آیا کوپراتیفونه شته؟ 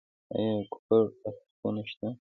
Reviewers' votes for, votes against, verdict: 2, 1, accepted